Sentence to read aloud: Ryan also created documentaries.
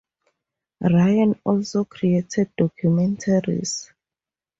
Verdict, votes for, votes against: rejected, 0, 2